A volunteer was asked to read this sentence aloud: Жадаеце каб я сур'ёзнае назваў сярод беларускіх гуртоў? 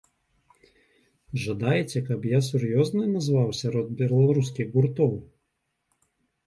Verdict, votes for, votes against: rejected, 1, 2